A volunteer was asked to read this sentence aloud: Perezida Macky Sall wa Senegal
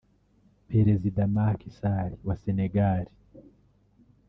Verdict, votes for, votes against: rejected, 1, 2